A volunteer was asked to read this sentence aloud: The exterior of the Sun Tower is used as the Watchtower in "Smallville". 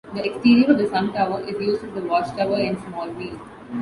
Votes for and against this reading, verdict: 3, 1, accepted